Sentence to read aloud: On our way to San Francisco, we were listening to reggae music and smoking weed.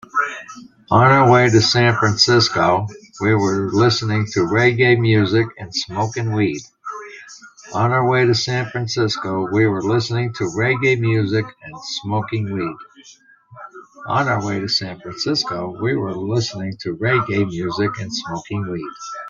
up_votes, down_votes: 0, 2